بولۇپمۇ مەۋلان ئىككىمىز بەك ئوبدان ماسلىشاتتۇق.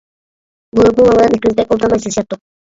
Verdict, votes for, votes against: rejected, 0, 2